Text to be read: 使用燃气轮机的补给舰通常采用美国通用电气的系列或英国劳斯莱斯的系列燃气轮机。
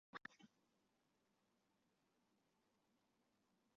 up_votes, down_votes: 1, 2